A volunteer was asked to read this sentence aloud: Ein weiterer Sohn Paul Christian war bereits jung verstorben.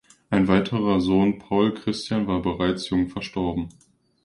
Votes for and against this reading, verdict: 2, 1, accepted